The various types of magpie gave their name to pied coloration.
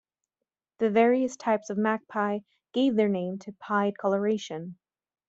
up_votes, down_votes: 2, 0